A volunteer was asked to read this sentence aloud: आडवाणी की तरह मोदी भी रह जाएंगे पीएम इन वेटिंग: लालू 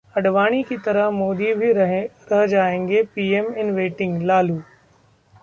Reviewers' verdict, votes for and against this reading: rejected, 0, 2